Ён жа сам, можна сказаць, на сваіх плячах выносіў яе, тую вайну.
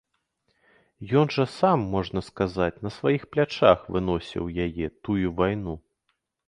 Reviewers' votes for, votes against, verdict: 2, 0, accepted